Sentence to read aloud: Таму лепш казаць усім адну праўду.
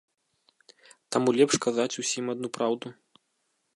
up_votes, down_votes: 2, 0